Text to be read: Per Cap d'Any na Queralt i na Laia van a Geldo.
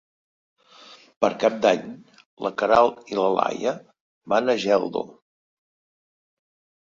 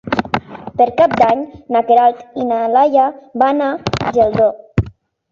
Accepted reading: second